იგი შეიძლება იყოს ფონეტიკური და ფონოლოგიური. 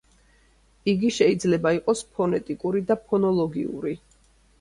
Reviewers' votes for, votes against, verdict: 2, 0, accepted